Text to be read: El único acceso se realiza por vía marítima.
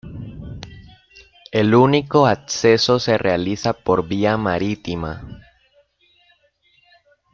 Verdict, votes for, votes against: accepted, 2, 0